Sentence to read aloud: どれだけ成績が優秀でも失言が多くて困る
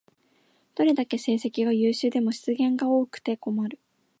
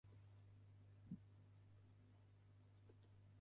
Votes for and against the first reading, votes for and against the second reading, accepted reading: 2, 0, 0, 3, first